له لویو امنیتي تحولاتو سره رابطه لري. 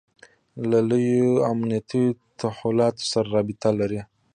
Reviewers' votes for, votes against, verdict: 1, 2, rejected